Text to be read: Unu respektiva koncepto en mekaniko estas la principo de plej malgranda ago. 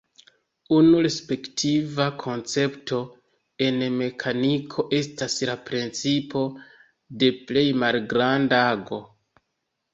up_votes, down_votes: 1, 2